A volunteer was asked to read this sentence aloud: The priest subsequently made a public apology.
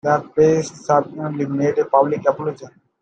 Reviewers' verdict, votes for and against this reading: accepted, 2, 0